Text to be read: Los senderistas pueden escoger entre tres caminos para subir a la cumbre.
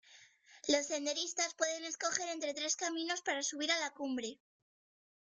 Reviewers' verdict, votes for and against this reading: rejected, 1, 2